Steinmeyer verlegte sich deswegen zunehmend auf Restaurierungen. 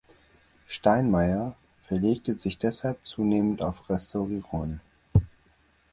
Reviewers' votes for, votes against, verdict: 0, 6, rejected